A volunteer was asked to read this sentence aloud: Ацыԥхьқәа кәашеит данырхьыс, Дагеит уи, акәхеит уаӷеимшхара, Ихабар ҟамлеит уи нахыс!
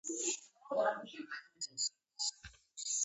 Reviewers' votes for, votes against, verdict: 0, 6, rejected